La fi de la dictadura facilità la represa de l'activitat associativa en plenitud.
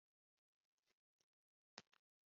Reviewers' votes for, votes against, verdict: 0, 2, rejected